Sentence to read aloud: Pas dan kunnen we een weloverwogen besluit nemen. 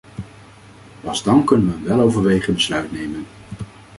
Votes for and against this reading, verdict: 0, 2, rejected